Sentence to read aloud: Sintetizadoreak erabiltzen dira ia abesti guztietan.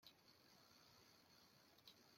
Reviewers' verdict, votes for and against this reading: rejected, 0, 2